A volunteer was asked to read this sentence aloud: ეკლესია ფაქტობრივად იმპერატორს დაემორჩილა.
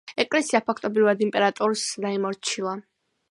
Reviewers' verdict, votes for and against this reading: accepted, 2, 0